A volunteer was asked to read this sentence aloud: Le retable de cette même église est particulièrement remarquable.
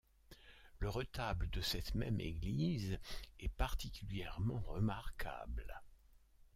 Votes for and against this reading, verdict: 2, 1, accepted